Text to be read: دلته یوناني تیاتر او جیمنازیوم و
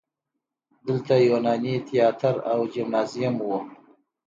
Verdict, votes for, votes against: accepted, 2, 0